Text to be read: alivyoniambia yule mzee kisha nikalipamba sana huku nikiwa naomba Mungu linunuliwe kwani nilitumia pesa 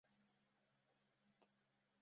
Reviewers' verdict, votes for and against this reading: rejected, 0, 2